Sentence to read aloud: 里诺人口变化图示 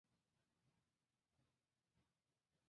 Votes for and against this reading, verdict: 1, 2, rejected